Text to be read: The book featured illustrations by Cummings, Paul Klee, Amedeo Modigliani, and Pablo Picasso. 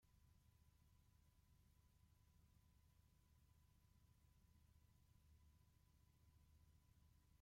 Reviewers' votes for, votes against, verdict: 0, 2, rejected